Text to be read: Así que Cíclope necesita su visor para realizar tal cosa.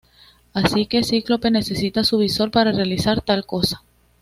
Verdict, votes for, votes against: accepted, 2, 1